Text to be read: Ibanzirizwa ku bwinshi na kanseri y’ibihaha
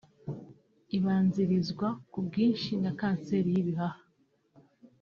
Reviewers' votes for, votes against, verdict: 2, 0, accepted